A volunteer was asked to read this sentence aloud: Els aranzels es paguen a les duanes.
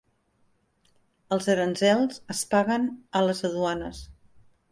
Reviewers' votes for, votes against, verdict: 0, 2, rejected